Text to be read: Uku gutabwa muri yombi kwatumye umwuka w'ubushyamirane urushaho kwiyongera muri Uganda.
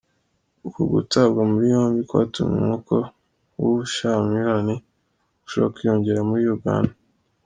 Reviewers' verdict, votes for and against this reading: accepted, 2, 0